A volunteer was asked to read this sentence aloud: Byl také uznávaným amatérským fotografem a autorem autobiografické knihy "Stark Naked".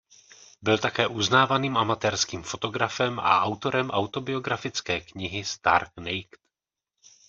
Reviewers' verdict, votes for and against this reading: rejected, 0, 2